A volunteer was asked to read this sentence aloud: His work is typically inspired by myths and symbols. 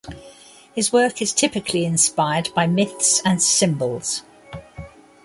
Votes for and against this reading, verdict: 2, 0, accepted